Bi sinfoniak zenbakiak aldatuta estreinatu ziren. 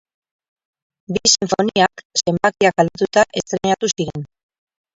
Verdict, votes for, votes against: rejected, 0, 2